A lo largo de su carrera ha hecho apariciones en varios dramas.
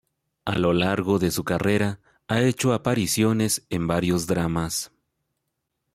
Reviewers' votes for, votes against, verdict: 2, 0, accepted